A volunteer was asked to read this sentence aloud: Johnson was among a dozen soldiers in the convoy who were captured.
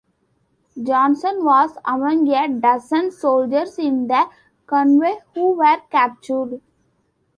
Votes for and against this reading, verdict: 1, 2, rejected